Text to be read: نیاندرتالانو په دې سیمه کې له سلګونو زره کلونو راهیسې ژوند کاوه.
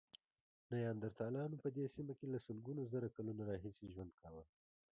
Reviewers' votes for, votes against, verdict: 2, 0, accepted